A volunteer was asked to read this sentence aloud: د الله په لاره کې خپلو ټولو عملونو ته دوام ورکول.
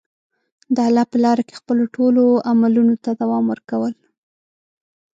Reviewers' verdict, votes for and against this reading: accepted, 2, 0